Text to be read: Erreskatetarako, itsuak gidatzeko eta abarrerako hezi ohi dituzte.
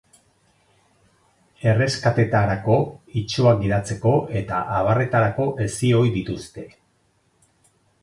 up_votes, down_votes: 4, 6